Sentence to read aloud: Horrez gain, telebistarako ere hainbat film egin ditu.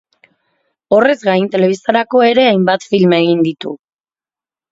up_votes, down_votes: 2, 0